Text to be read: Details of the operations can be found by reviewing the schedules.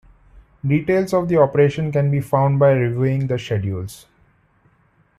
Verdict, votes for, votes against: rejected, 0, 2